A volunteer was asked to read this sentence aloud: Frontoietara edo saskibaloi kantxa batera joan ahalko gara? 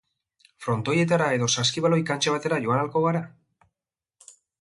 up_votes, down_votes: 2, 0